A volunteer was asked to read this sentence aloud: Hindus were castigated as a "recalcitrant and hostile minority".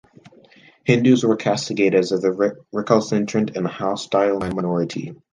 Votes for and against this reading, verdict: 0, 2, rejected